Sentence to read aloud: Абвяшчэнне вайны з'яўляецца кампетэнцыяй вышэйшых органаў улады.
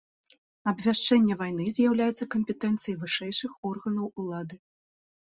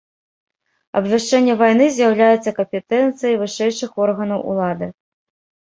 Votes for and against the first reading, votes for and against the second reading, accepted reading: 0, 2, 2, 0, second